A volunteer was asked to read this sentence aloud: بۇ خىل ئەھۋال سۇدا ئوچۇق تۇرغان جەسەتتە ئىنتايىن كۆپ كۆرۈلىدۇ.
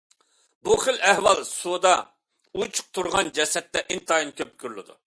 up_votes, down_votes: 2, 0